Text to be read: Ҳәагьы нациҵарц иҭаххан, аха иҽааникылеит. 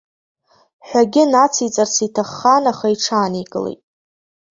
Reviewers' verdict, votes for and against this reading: accepted, 2, 1